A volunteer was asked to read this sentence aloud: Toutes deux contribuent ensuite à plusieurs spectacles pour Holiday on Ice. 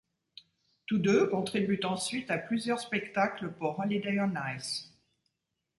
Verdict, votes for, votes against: rejected, 1, 2